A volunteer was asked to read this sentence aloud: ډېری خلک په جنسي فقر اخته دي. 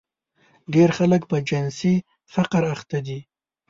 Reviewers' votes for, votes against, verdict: 1, 2, rejected